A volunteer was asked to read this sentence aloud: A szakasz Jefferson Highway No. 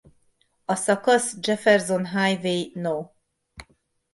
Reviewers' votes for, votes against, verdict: 1, 2, rejected